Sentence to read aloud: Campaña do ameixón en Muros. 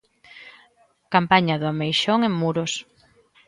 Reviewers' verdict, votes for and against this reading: accepted, 2, 0